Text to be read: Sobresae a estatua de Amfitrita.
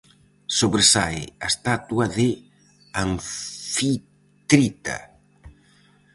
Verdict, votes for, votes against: rejected, 0, 4